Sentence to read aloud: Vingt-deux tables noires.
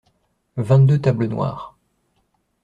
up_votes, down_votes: 2, 0